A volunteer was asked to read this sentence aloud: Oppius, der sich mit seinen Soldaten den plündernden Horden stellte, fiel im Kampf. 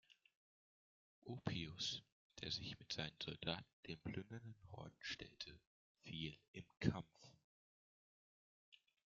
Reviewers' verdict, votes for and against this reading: rejected, 1, 2